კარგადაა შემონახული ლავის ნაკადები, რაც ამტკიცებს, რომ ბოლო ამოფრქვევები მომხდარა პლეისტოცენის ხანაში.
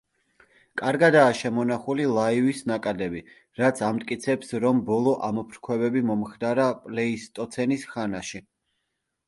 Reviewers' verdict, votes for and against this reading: rejected, 0, 2